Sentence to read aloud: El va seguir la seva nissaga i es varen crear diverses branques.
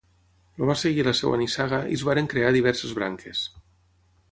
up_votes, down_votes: 3, 6